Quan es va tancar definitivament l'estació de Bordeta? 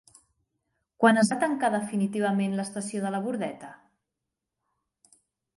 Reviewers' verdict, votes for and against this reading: rejected, 0, 4